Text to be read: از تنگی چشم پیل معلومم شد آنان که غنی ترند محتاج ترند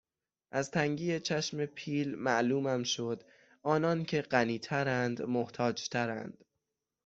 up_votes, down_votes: 6, 0